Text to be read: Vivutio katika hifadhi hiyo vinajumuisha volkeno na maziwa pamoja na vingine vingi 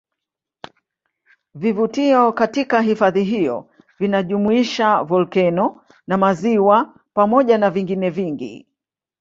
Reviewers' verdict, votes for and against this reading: rejected, 1, 2